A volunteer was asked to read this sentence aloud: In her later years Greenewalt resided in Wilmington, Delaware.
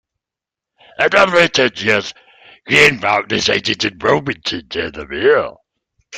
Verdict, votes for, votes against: accepted, 2, 1